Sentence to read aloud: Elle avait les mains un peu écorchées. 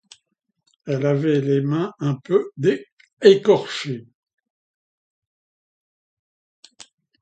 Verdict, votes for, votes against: rejected, 0, 2